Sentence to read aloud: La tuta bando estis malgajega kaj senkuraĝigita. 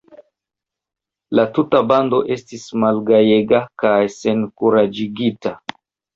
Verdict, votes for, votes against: accepted, 2, 0